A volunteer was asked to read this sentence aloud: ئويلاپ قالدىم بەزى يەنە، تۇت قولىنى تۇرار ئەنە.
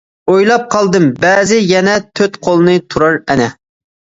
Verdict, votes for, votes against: rejected, 0, 2